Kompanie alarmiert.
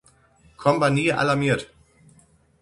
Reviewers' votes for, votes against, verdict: 6, 0, accepted